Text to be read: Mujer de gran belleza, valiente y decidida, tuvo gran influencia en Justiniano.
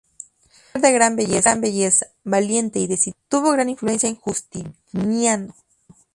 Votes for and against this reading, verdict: 0, 2, rejected